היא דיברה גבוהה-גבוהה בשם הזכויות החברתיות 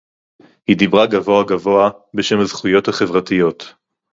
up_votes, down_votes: 2, 2